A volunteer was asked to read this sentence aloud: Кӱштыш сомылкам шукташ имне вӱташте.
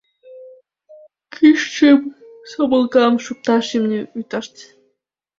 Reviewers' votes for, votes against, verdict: 0, 2, rejected